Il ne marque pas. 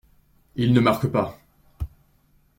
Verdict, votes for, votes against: accepted, 2, 0